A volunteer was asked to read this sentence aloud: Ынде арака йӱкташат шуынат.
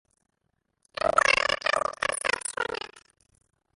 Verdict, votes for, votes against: rejected, 0, 2